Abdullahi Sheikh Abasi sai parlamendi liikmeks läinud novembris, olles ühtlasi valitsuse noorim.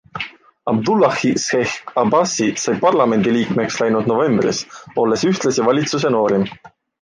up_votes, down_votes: 3, 0